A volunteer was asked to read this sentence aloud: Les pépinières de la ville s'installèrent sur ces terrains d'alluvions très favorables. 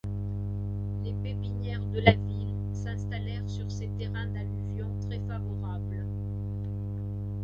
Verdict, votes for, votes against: accepted, 2, 0